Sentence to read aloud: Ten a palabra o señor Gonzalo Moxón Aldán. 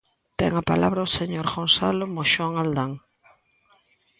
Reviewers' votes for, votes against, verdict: 2, 0, accepted